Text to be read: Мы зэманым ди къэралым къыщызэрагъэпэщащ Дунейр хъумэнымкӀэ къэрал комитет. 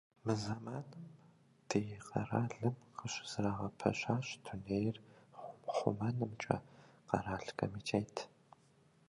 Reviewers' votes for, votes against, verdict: 1, 2, rejected